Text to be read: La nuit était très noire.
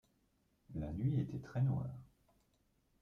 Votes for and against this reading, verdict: 2, 1, accepted